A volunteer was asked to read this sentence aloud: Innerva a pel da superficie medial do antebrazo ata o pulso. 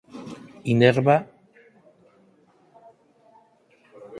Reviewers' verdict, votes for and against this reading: rejected, 0, 4